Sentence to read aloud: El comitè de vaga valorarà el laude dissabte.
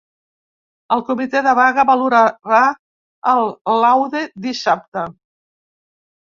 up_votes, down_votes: 0, 3